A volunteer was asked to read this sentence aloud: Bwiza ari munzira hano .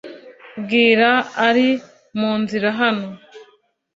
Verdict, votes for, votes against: rejected, 0, 2